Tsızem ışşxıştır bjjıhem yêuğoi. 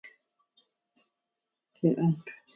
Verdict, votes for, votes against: rejected, 0, 4